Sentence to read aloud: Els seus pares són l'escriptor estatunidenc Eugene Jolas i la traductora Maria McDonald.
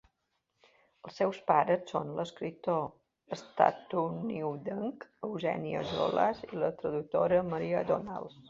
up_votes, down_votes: 1, 2